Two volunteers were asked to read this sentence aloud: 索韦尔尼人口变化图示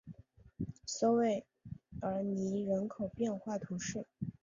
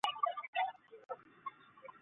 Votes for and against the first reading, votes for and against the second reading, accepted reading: 2, 0, 0, 2, first